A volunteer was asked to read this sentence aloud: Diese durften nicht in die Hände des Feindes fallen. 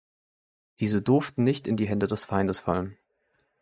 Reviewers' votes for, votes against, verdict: 2, 0, accepted